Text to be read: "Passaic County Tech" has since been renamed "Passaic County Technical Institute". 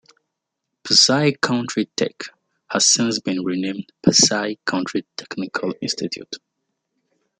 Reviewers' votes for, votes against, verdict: 0, 2, rejected